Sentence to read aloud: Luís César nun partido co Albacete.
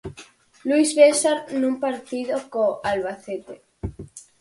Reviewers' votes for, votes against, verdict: 4, 0, accepted